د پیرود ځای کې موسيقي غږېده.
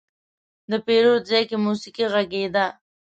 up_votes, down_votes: 2, 0